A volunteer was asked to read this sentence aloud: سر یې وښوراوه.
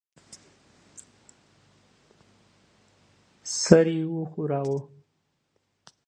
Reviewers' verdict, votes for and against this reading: rejected, 0, 2